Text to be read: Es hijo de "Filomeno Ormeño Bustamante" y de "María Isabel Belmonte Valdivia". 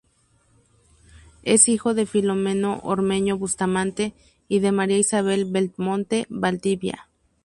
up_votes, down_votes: 2, 0